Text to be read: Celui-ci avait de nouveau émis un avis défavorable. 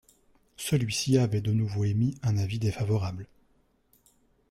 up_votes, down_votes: 2, 0